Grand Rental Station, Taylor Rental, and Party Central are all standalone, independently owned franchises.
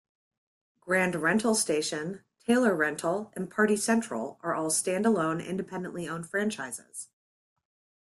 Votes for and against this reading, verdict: 2, 0, accepted